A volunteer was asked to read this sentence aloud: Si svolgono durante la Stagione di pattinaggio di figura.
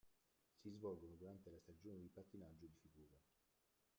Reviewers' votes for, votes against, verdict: 0, 2, rejected